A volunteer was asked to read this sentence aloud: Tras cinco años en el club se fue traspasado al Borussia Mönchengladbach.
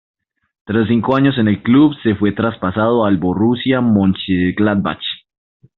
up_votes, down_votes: 0, 2